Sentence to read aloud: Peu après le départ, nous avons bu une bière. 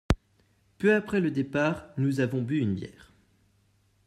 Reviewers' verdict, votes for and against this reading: accepted, 2, 0